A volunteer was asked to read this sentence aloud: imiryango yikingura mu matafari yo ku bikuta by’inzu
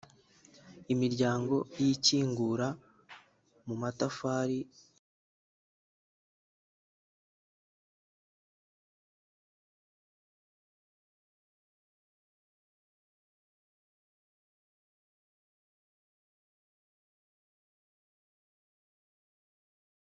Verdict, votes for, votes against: rejected, 0, 2